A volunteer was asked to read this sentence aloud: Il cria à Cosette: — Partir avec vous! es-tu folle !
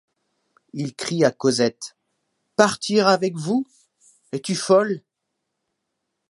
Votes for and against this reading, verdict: 1, 2, rejected